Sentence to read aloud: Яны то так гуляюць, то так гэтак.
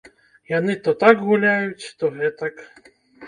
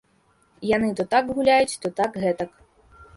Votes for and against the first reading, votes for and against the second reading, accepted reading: 0, 2, 2, 0, second